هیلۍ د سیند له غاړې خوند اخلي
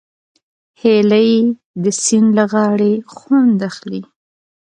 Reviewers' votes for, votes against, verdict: 2, 0, accepted